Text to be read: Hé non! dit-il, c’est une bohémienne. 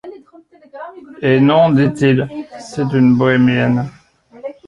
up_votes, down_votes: 0, 2